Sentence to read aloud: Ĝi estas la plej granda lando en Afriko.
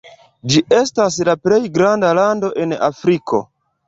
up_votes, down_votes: 0, 2